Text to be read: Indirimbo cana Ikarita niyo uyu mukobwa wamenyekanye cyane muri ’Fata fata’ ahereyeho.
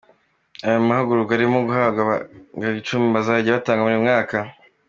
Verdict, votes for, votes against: rejected, 0, 2